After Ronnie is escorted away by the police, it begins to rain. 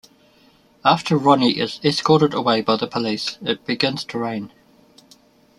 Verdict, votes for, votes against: accepted, 2, 1